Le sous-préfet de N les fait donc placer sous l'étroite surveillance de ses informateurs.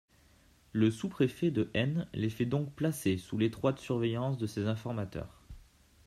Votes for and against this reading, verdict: 2, 0, accepted